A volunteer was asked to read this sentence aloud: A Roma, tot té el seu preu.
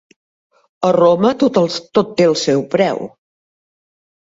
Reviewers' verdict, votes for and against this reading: rejected, 1, 2